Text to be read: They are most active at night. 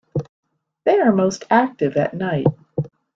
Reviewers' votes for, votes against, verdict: 2, 0, accepted